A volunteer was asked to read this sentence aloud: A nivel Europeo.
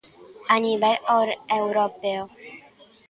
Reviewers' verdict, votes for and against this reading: rejected, 0, 2